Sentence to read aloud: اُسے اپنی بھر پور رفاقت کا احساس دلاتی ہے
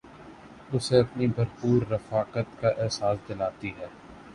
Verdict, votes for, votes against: accepted, 3, 0